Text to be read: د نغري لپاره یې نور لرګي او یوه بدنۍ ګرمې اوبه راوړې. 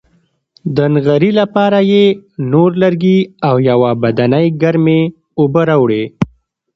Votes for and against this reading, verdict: 2, 0, accepted